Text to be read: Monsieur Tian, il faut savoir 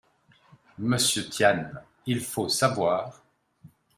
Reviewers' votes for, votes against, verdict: 2, 0, accepted